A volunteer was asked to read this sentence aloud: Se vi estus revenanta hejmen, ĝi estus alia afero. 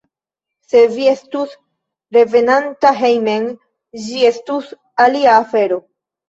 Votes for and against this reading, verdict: 0, 2, rejected